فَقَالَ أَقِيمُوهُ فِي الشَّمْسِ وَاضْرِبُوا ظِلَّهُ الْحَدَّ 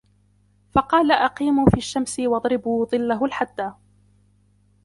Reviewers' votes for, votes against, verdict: 0, 2, rejected